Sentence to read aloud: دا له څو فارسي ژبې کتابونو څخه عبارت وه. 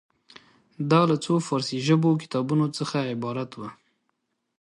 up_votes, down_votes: 2, 0